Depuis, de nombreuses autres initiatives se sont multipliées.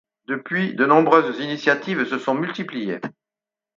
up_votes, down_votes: 2, 4